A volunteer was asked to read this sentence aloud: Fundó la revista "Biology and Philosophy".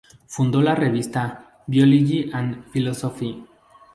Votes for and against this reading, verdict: 2, 0, accepted